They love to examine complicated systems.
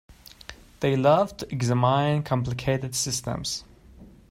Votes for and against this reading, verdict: 1, 2, rejected